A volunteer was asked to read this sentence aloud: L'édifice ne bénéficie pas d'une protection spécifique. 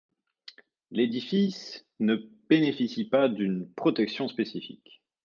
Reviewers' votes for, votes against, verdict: 2, 0, accepted